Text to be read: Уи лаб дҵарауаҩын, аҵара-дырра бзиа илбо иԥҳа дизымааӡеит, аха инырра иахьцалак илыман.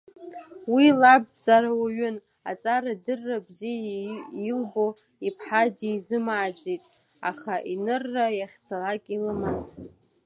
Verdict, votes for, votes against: rejected, 1, 2